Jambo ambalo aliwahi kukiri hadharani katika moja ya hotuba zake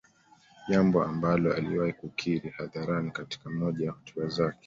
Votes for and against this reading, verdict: 2, 0, accepted